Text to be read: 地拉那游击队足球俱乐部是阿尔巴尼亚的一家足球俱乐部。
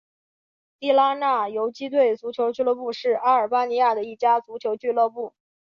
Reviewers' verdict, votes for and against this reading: accepted, 2, 0